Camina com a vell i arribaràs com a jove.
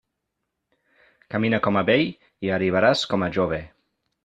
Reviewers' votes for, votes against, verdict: 0, 2, rejected